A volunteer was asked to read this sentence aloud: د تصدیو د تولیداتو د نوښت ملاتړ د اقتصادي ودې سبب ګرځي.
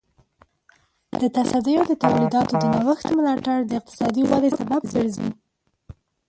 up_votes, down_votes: 0, 2